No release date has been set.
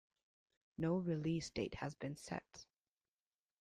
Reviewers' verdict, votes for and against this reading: accepted, 2, 0